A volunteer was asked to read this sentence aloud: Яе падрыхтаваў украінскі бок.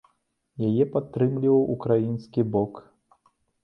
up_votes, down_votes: 0, 2